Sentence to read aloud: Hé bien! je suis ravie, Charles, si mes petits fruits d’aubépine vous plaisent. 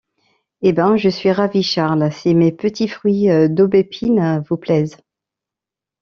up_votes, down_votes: 1, 2